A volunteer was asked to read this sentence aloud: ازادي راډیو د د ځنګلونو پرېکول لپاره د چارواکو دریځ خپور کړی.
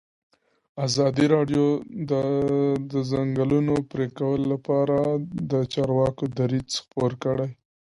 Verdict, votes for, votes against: accepted, 2, 0